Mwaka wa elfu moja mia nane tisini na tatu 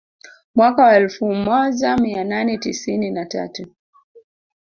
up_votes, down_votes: 2, 1